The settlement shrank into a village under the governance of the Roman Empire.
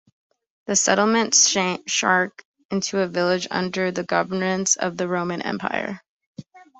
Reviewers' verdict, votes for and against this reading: rejected, 0, 2